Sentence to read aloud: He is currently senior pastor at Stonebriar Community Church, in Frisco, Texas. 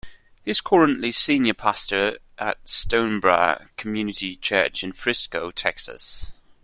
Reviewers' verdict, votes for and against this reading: rejected, 1, 2